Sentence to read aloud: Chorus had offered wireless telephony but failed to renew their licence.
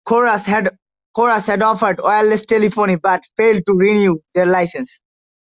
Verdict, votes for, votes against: rejected, 0, 2